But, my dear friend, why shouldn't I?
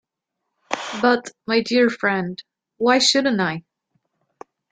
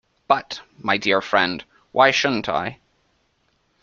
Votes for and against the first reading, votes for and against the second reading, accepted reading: 1, 2, 2, 0, second